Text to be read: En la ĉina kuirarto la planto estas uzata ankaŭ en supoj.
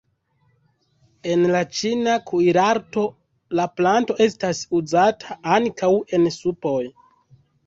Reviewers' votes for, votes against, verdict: 2, 0, accepted